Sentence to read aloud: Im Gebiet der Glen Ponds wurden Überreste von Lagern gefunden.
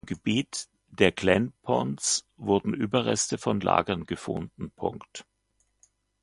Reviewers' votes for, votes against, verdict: 0, 2, rejected